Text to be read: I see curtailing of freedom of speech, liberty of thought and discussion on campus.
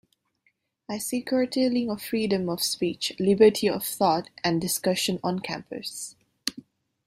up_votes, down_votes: 2, 0